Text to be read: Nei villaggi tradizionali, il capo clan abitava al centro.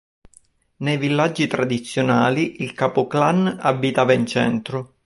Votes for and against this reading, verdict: 0, 4, rejected